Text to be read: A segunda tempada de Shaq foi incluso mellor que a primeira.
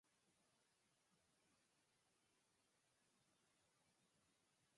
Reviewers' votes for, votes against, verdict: 0, 4, rejected